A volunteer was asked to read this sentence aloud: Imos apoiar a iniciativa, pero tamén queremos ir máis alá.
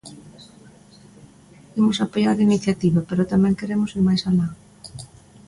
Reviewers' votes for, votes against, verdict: 2, 0, accepted